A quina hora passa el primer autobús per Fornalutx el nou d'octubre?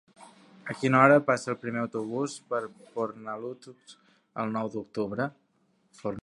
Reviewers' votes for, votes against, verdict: 3, 2, accepted